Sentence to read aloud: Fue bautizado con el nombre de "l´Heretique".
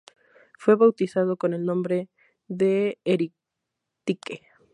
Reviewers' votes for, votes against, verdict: 0, 2, rejected